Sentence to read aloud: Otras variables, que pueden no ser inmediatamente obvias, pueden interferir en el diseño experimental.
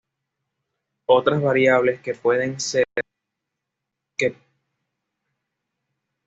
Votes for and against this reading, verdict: 1, 2, rejected